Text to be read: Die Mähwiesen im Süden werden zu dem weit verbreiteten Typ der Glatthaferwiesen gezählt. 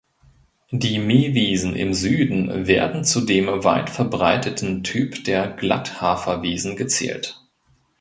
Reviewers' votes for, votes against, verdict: 3, 0, accepted